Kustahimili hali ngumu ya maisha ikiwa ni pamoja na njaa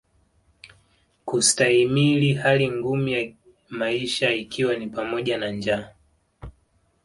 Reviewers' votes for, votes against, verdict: 0, 2, rejected